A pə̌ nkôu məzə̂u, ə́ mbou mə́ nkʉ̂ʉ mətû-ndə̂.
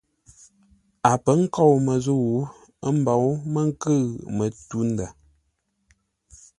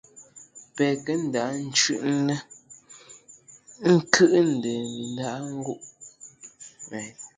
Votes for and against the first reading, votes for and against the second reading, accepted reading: 2, 0, 0, 2, first